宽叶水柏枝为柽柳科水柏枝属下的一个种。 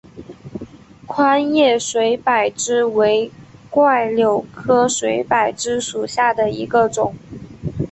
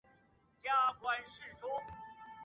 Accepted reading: first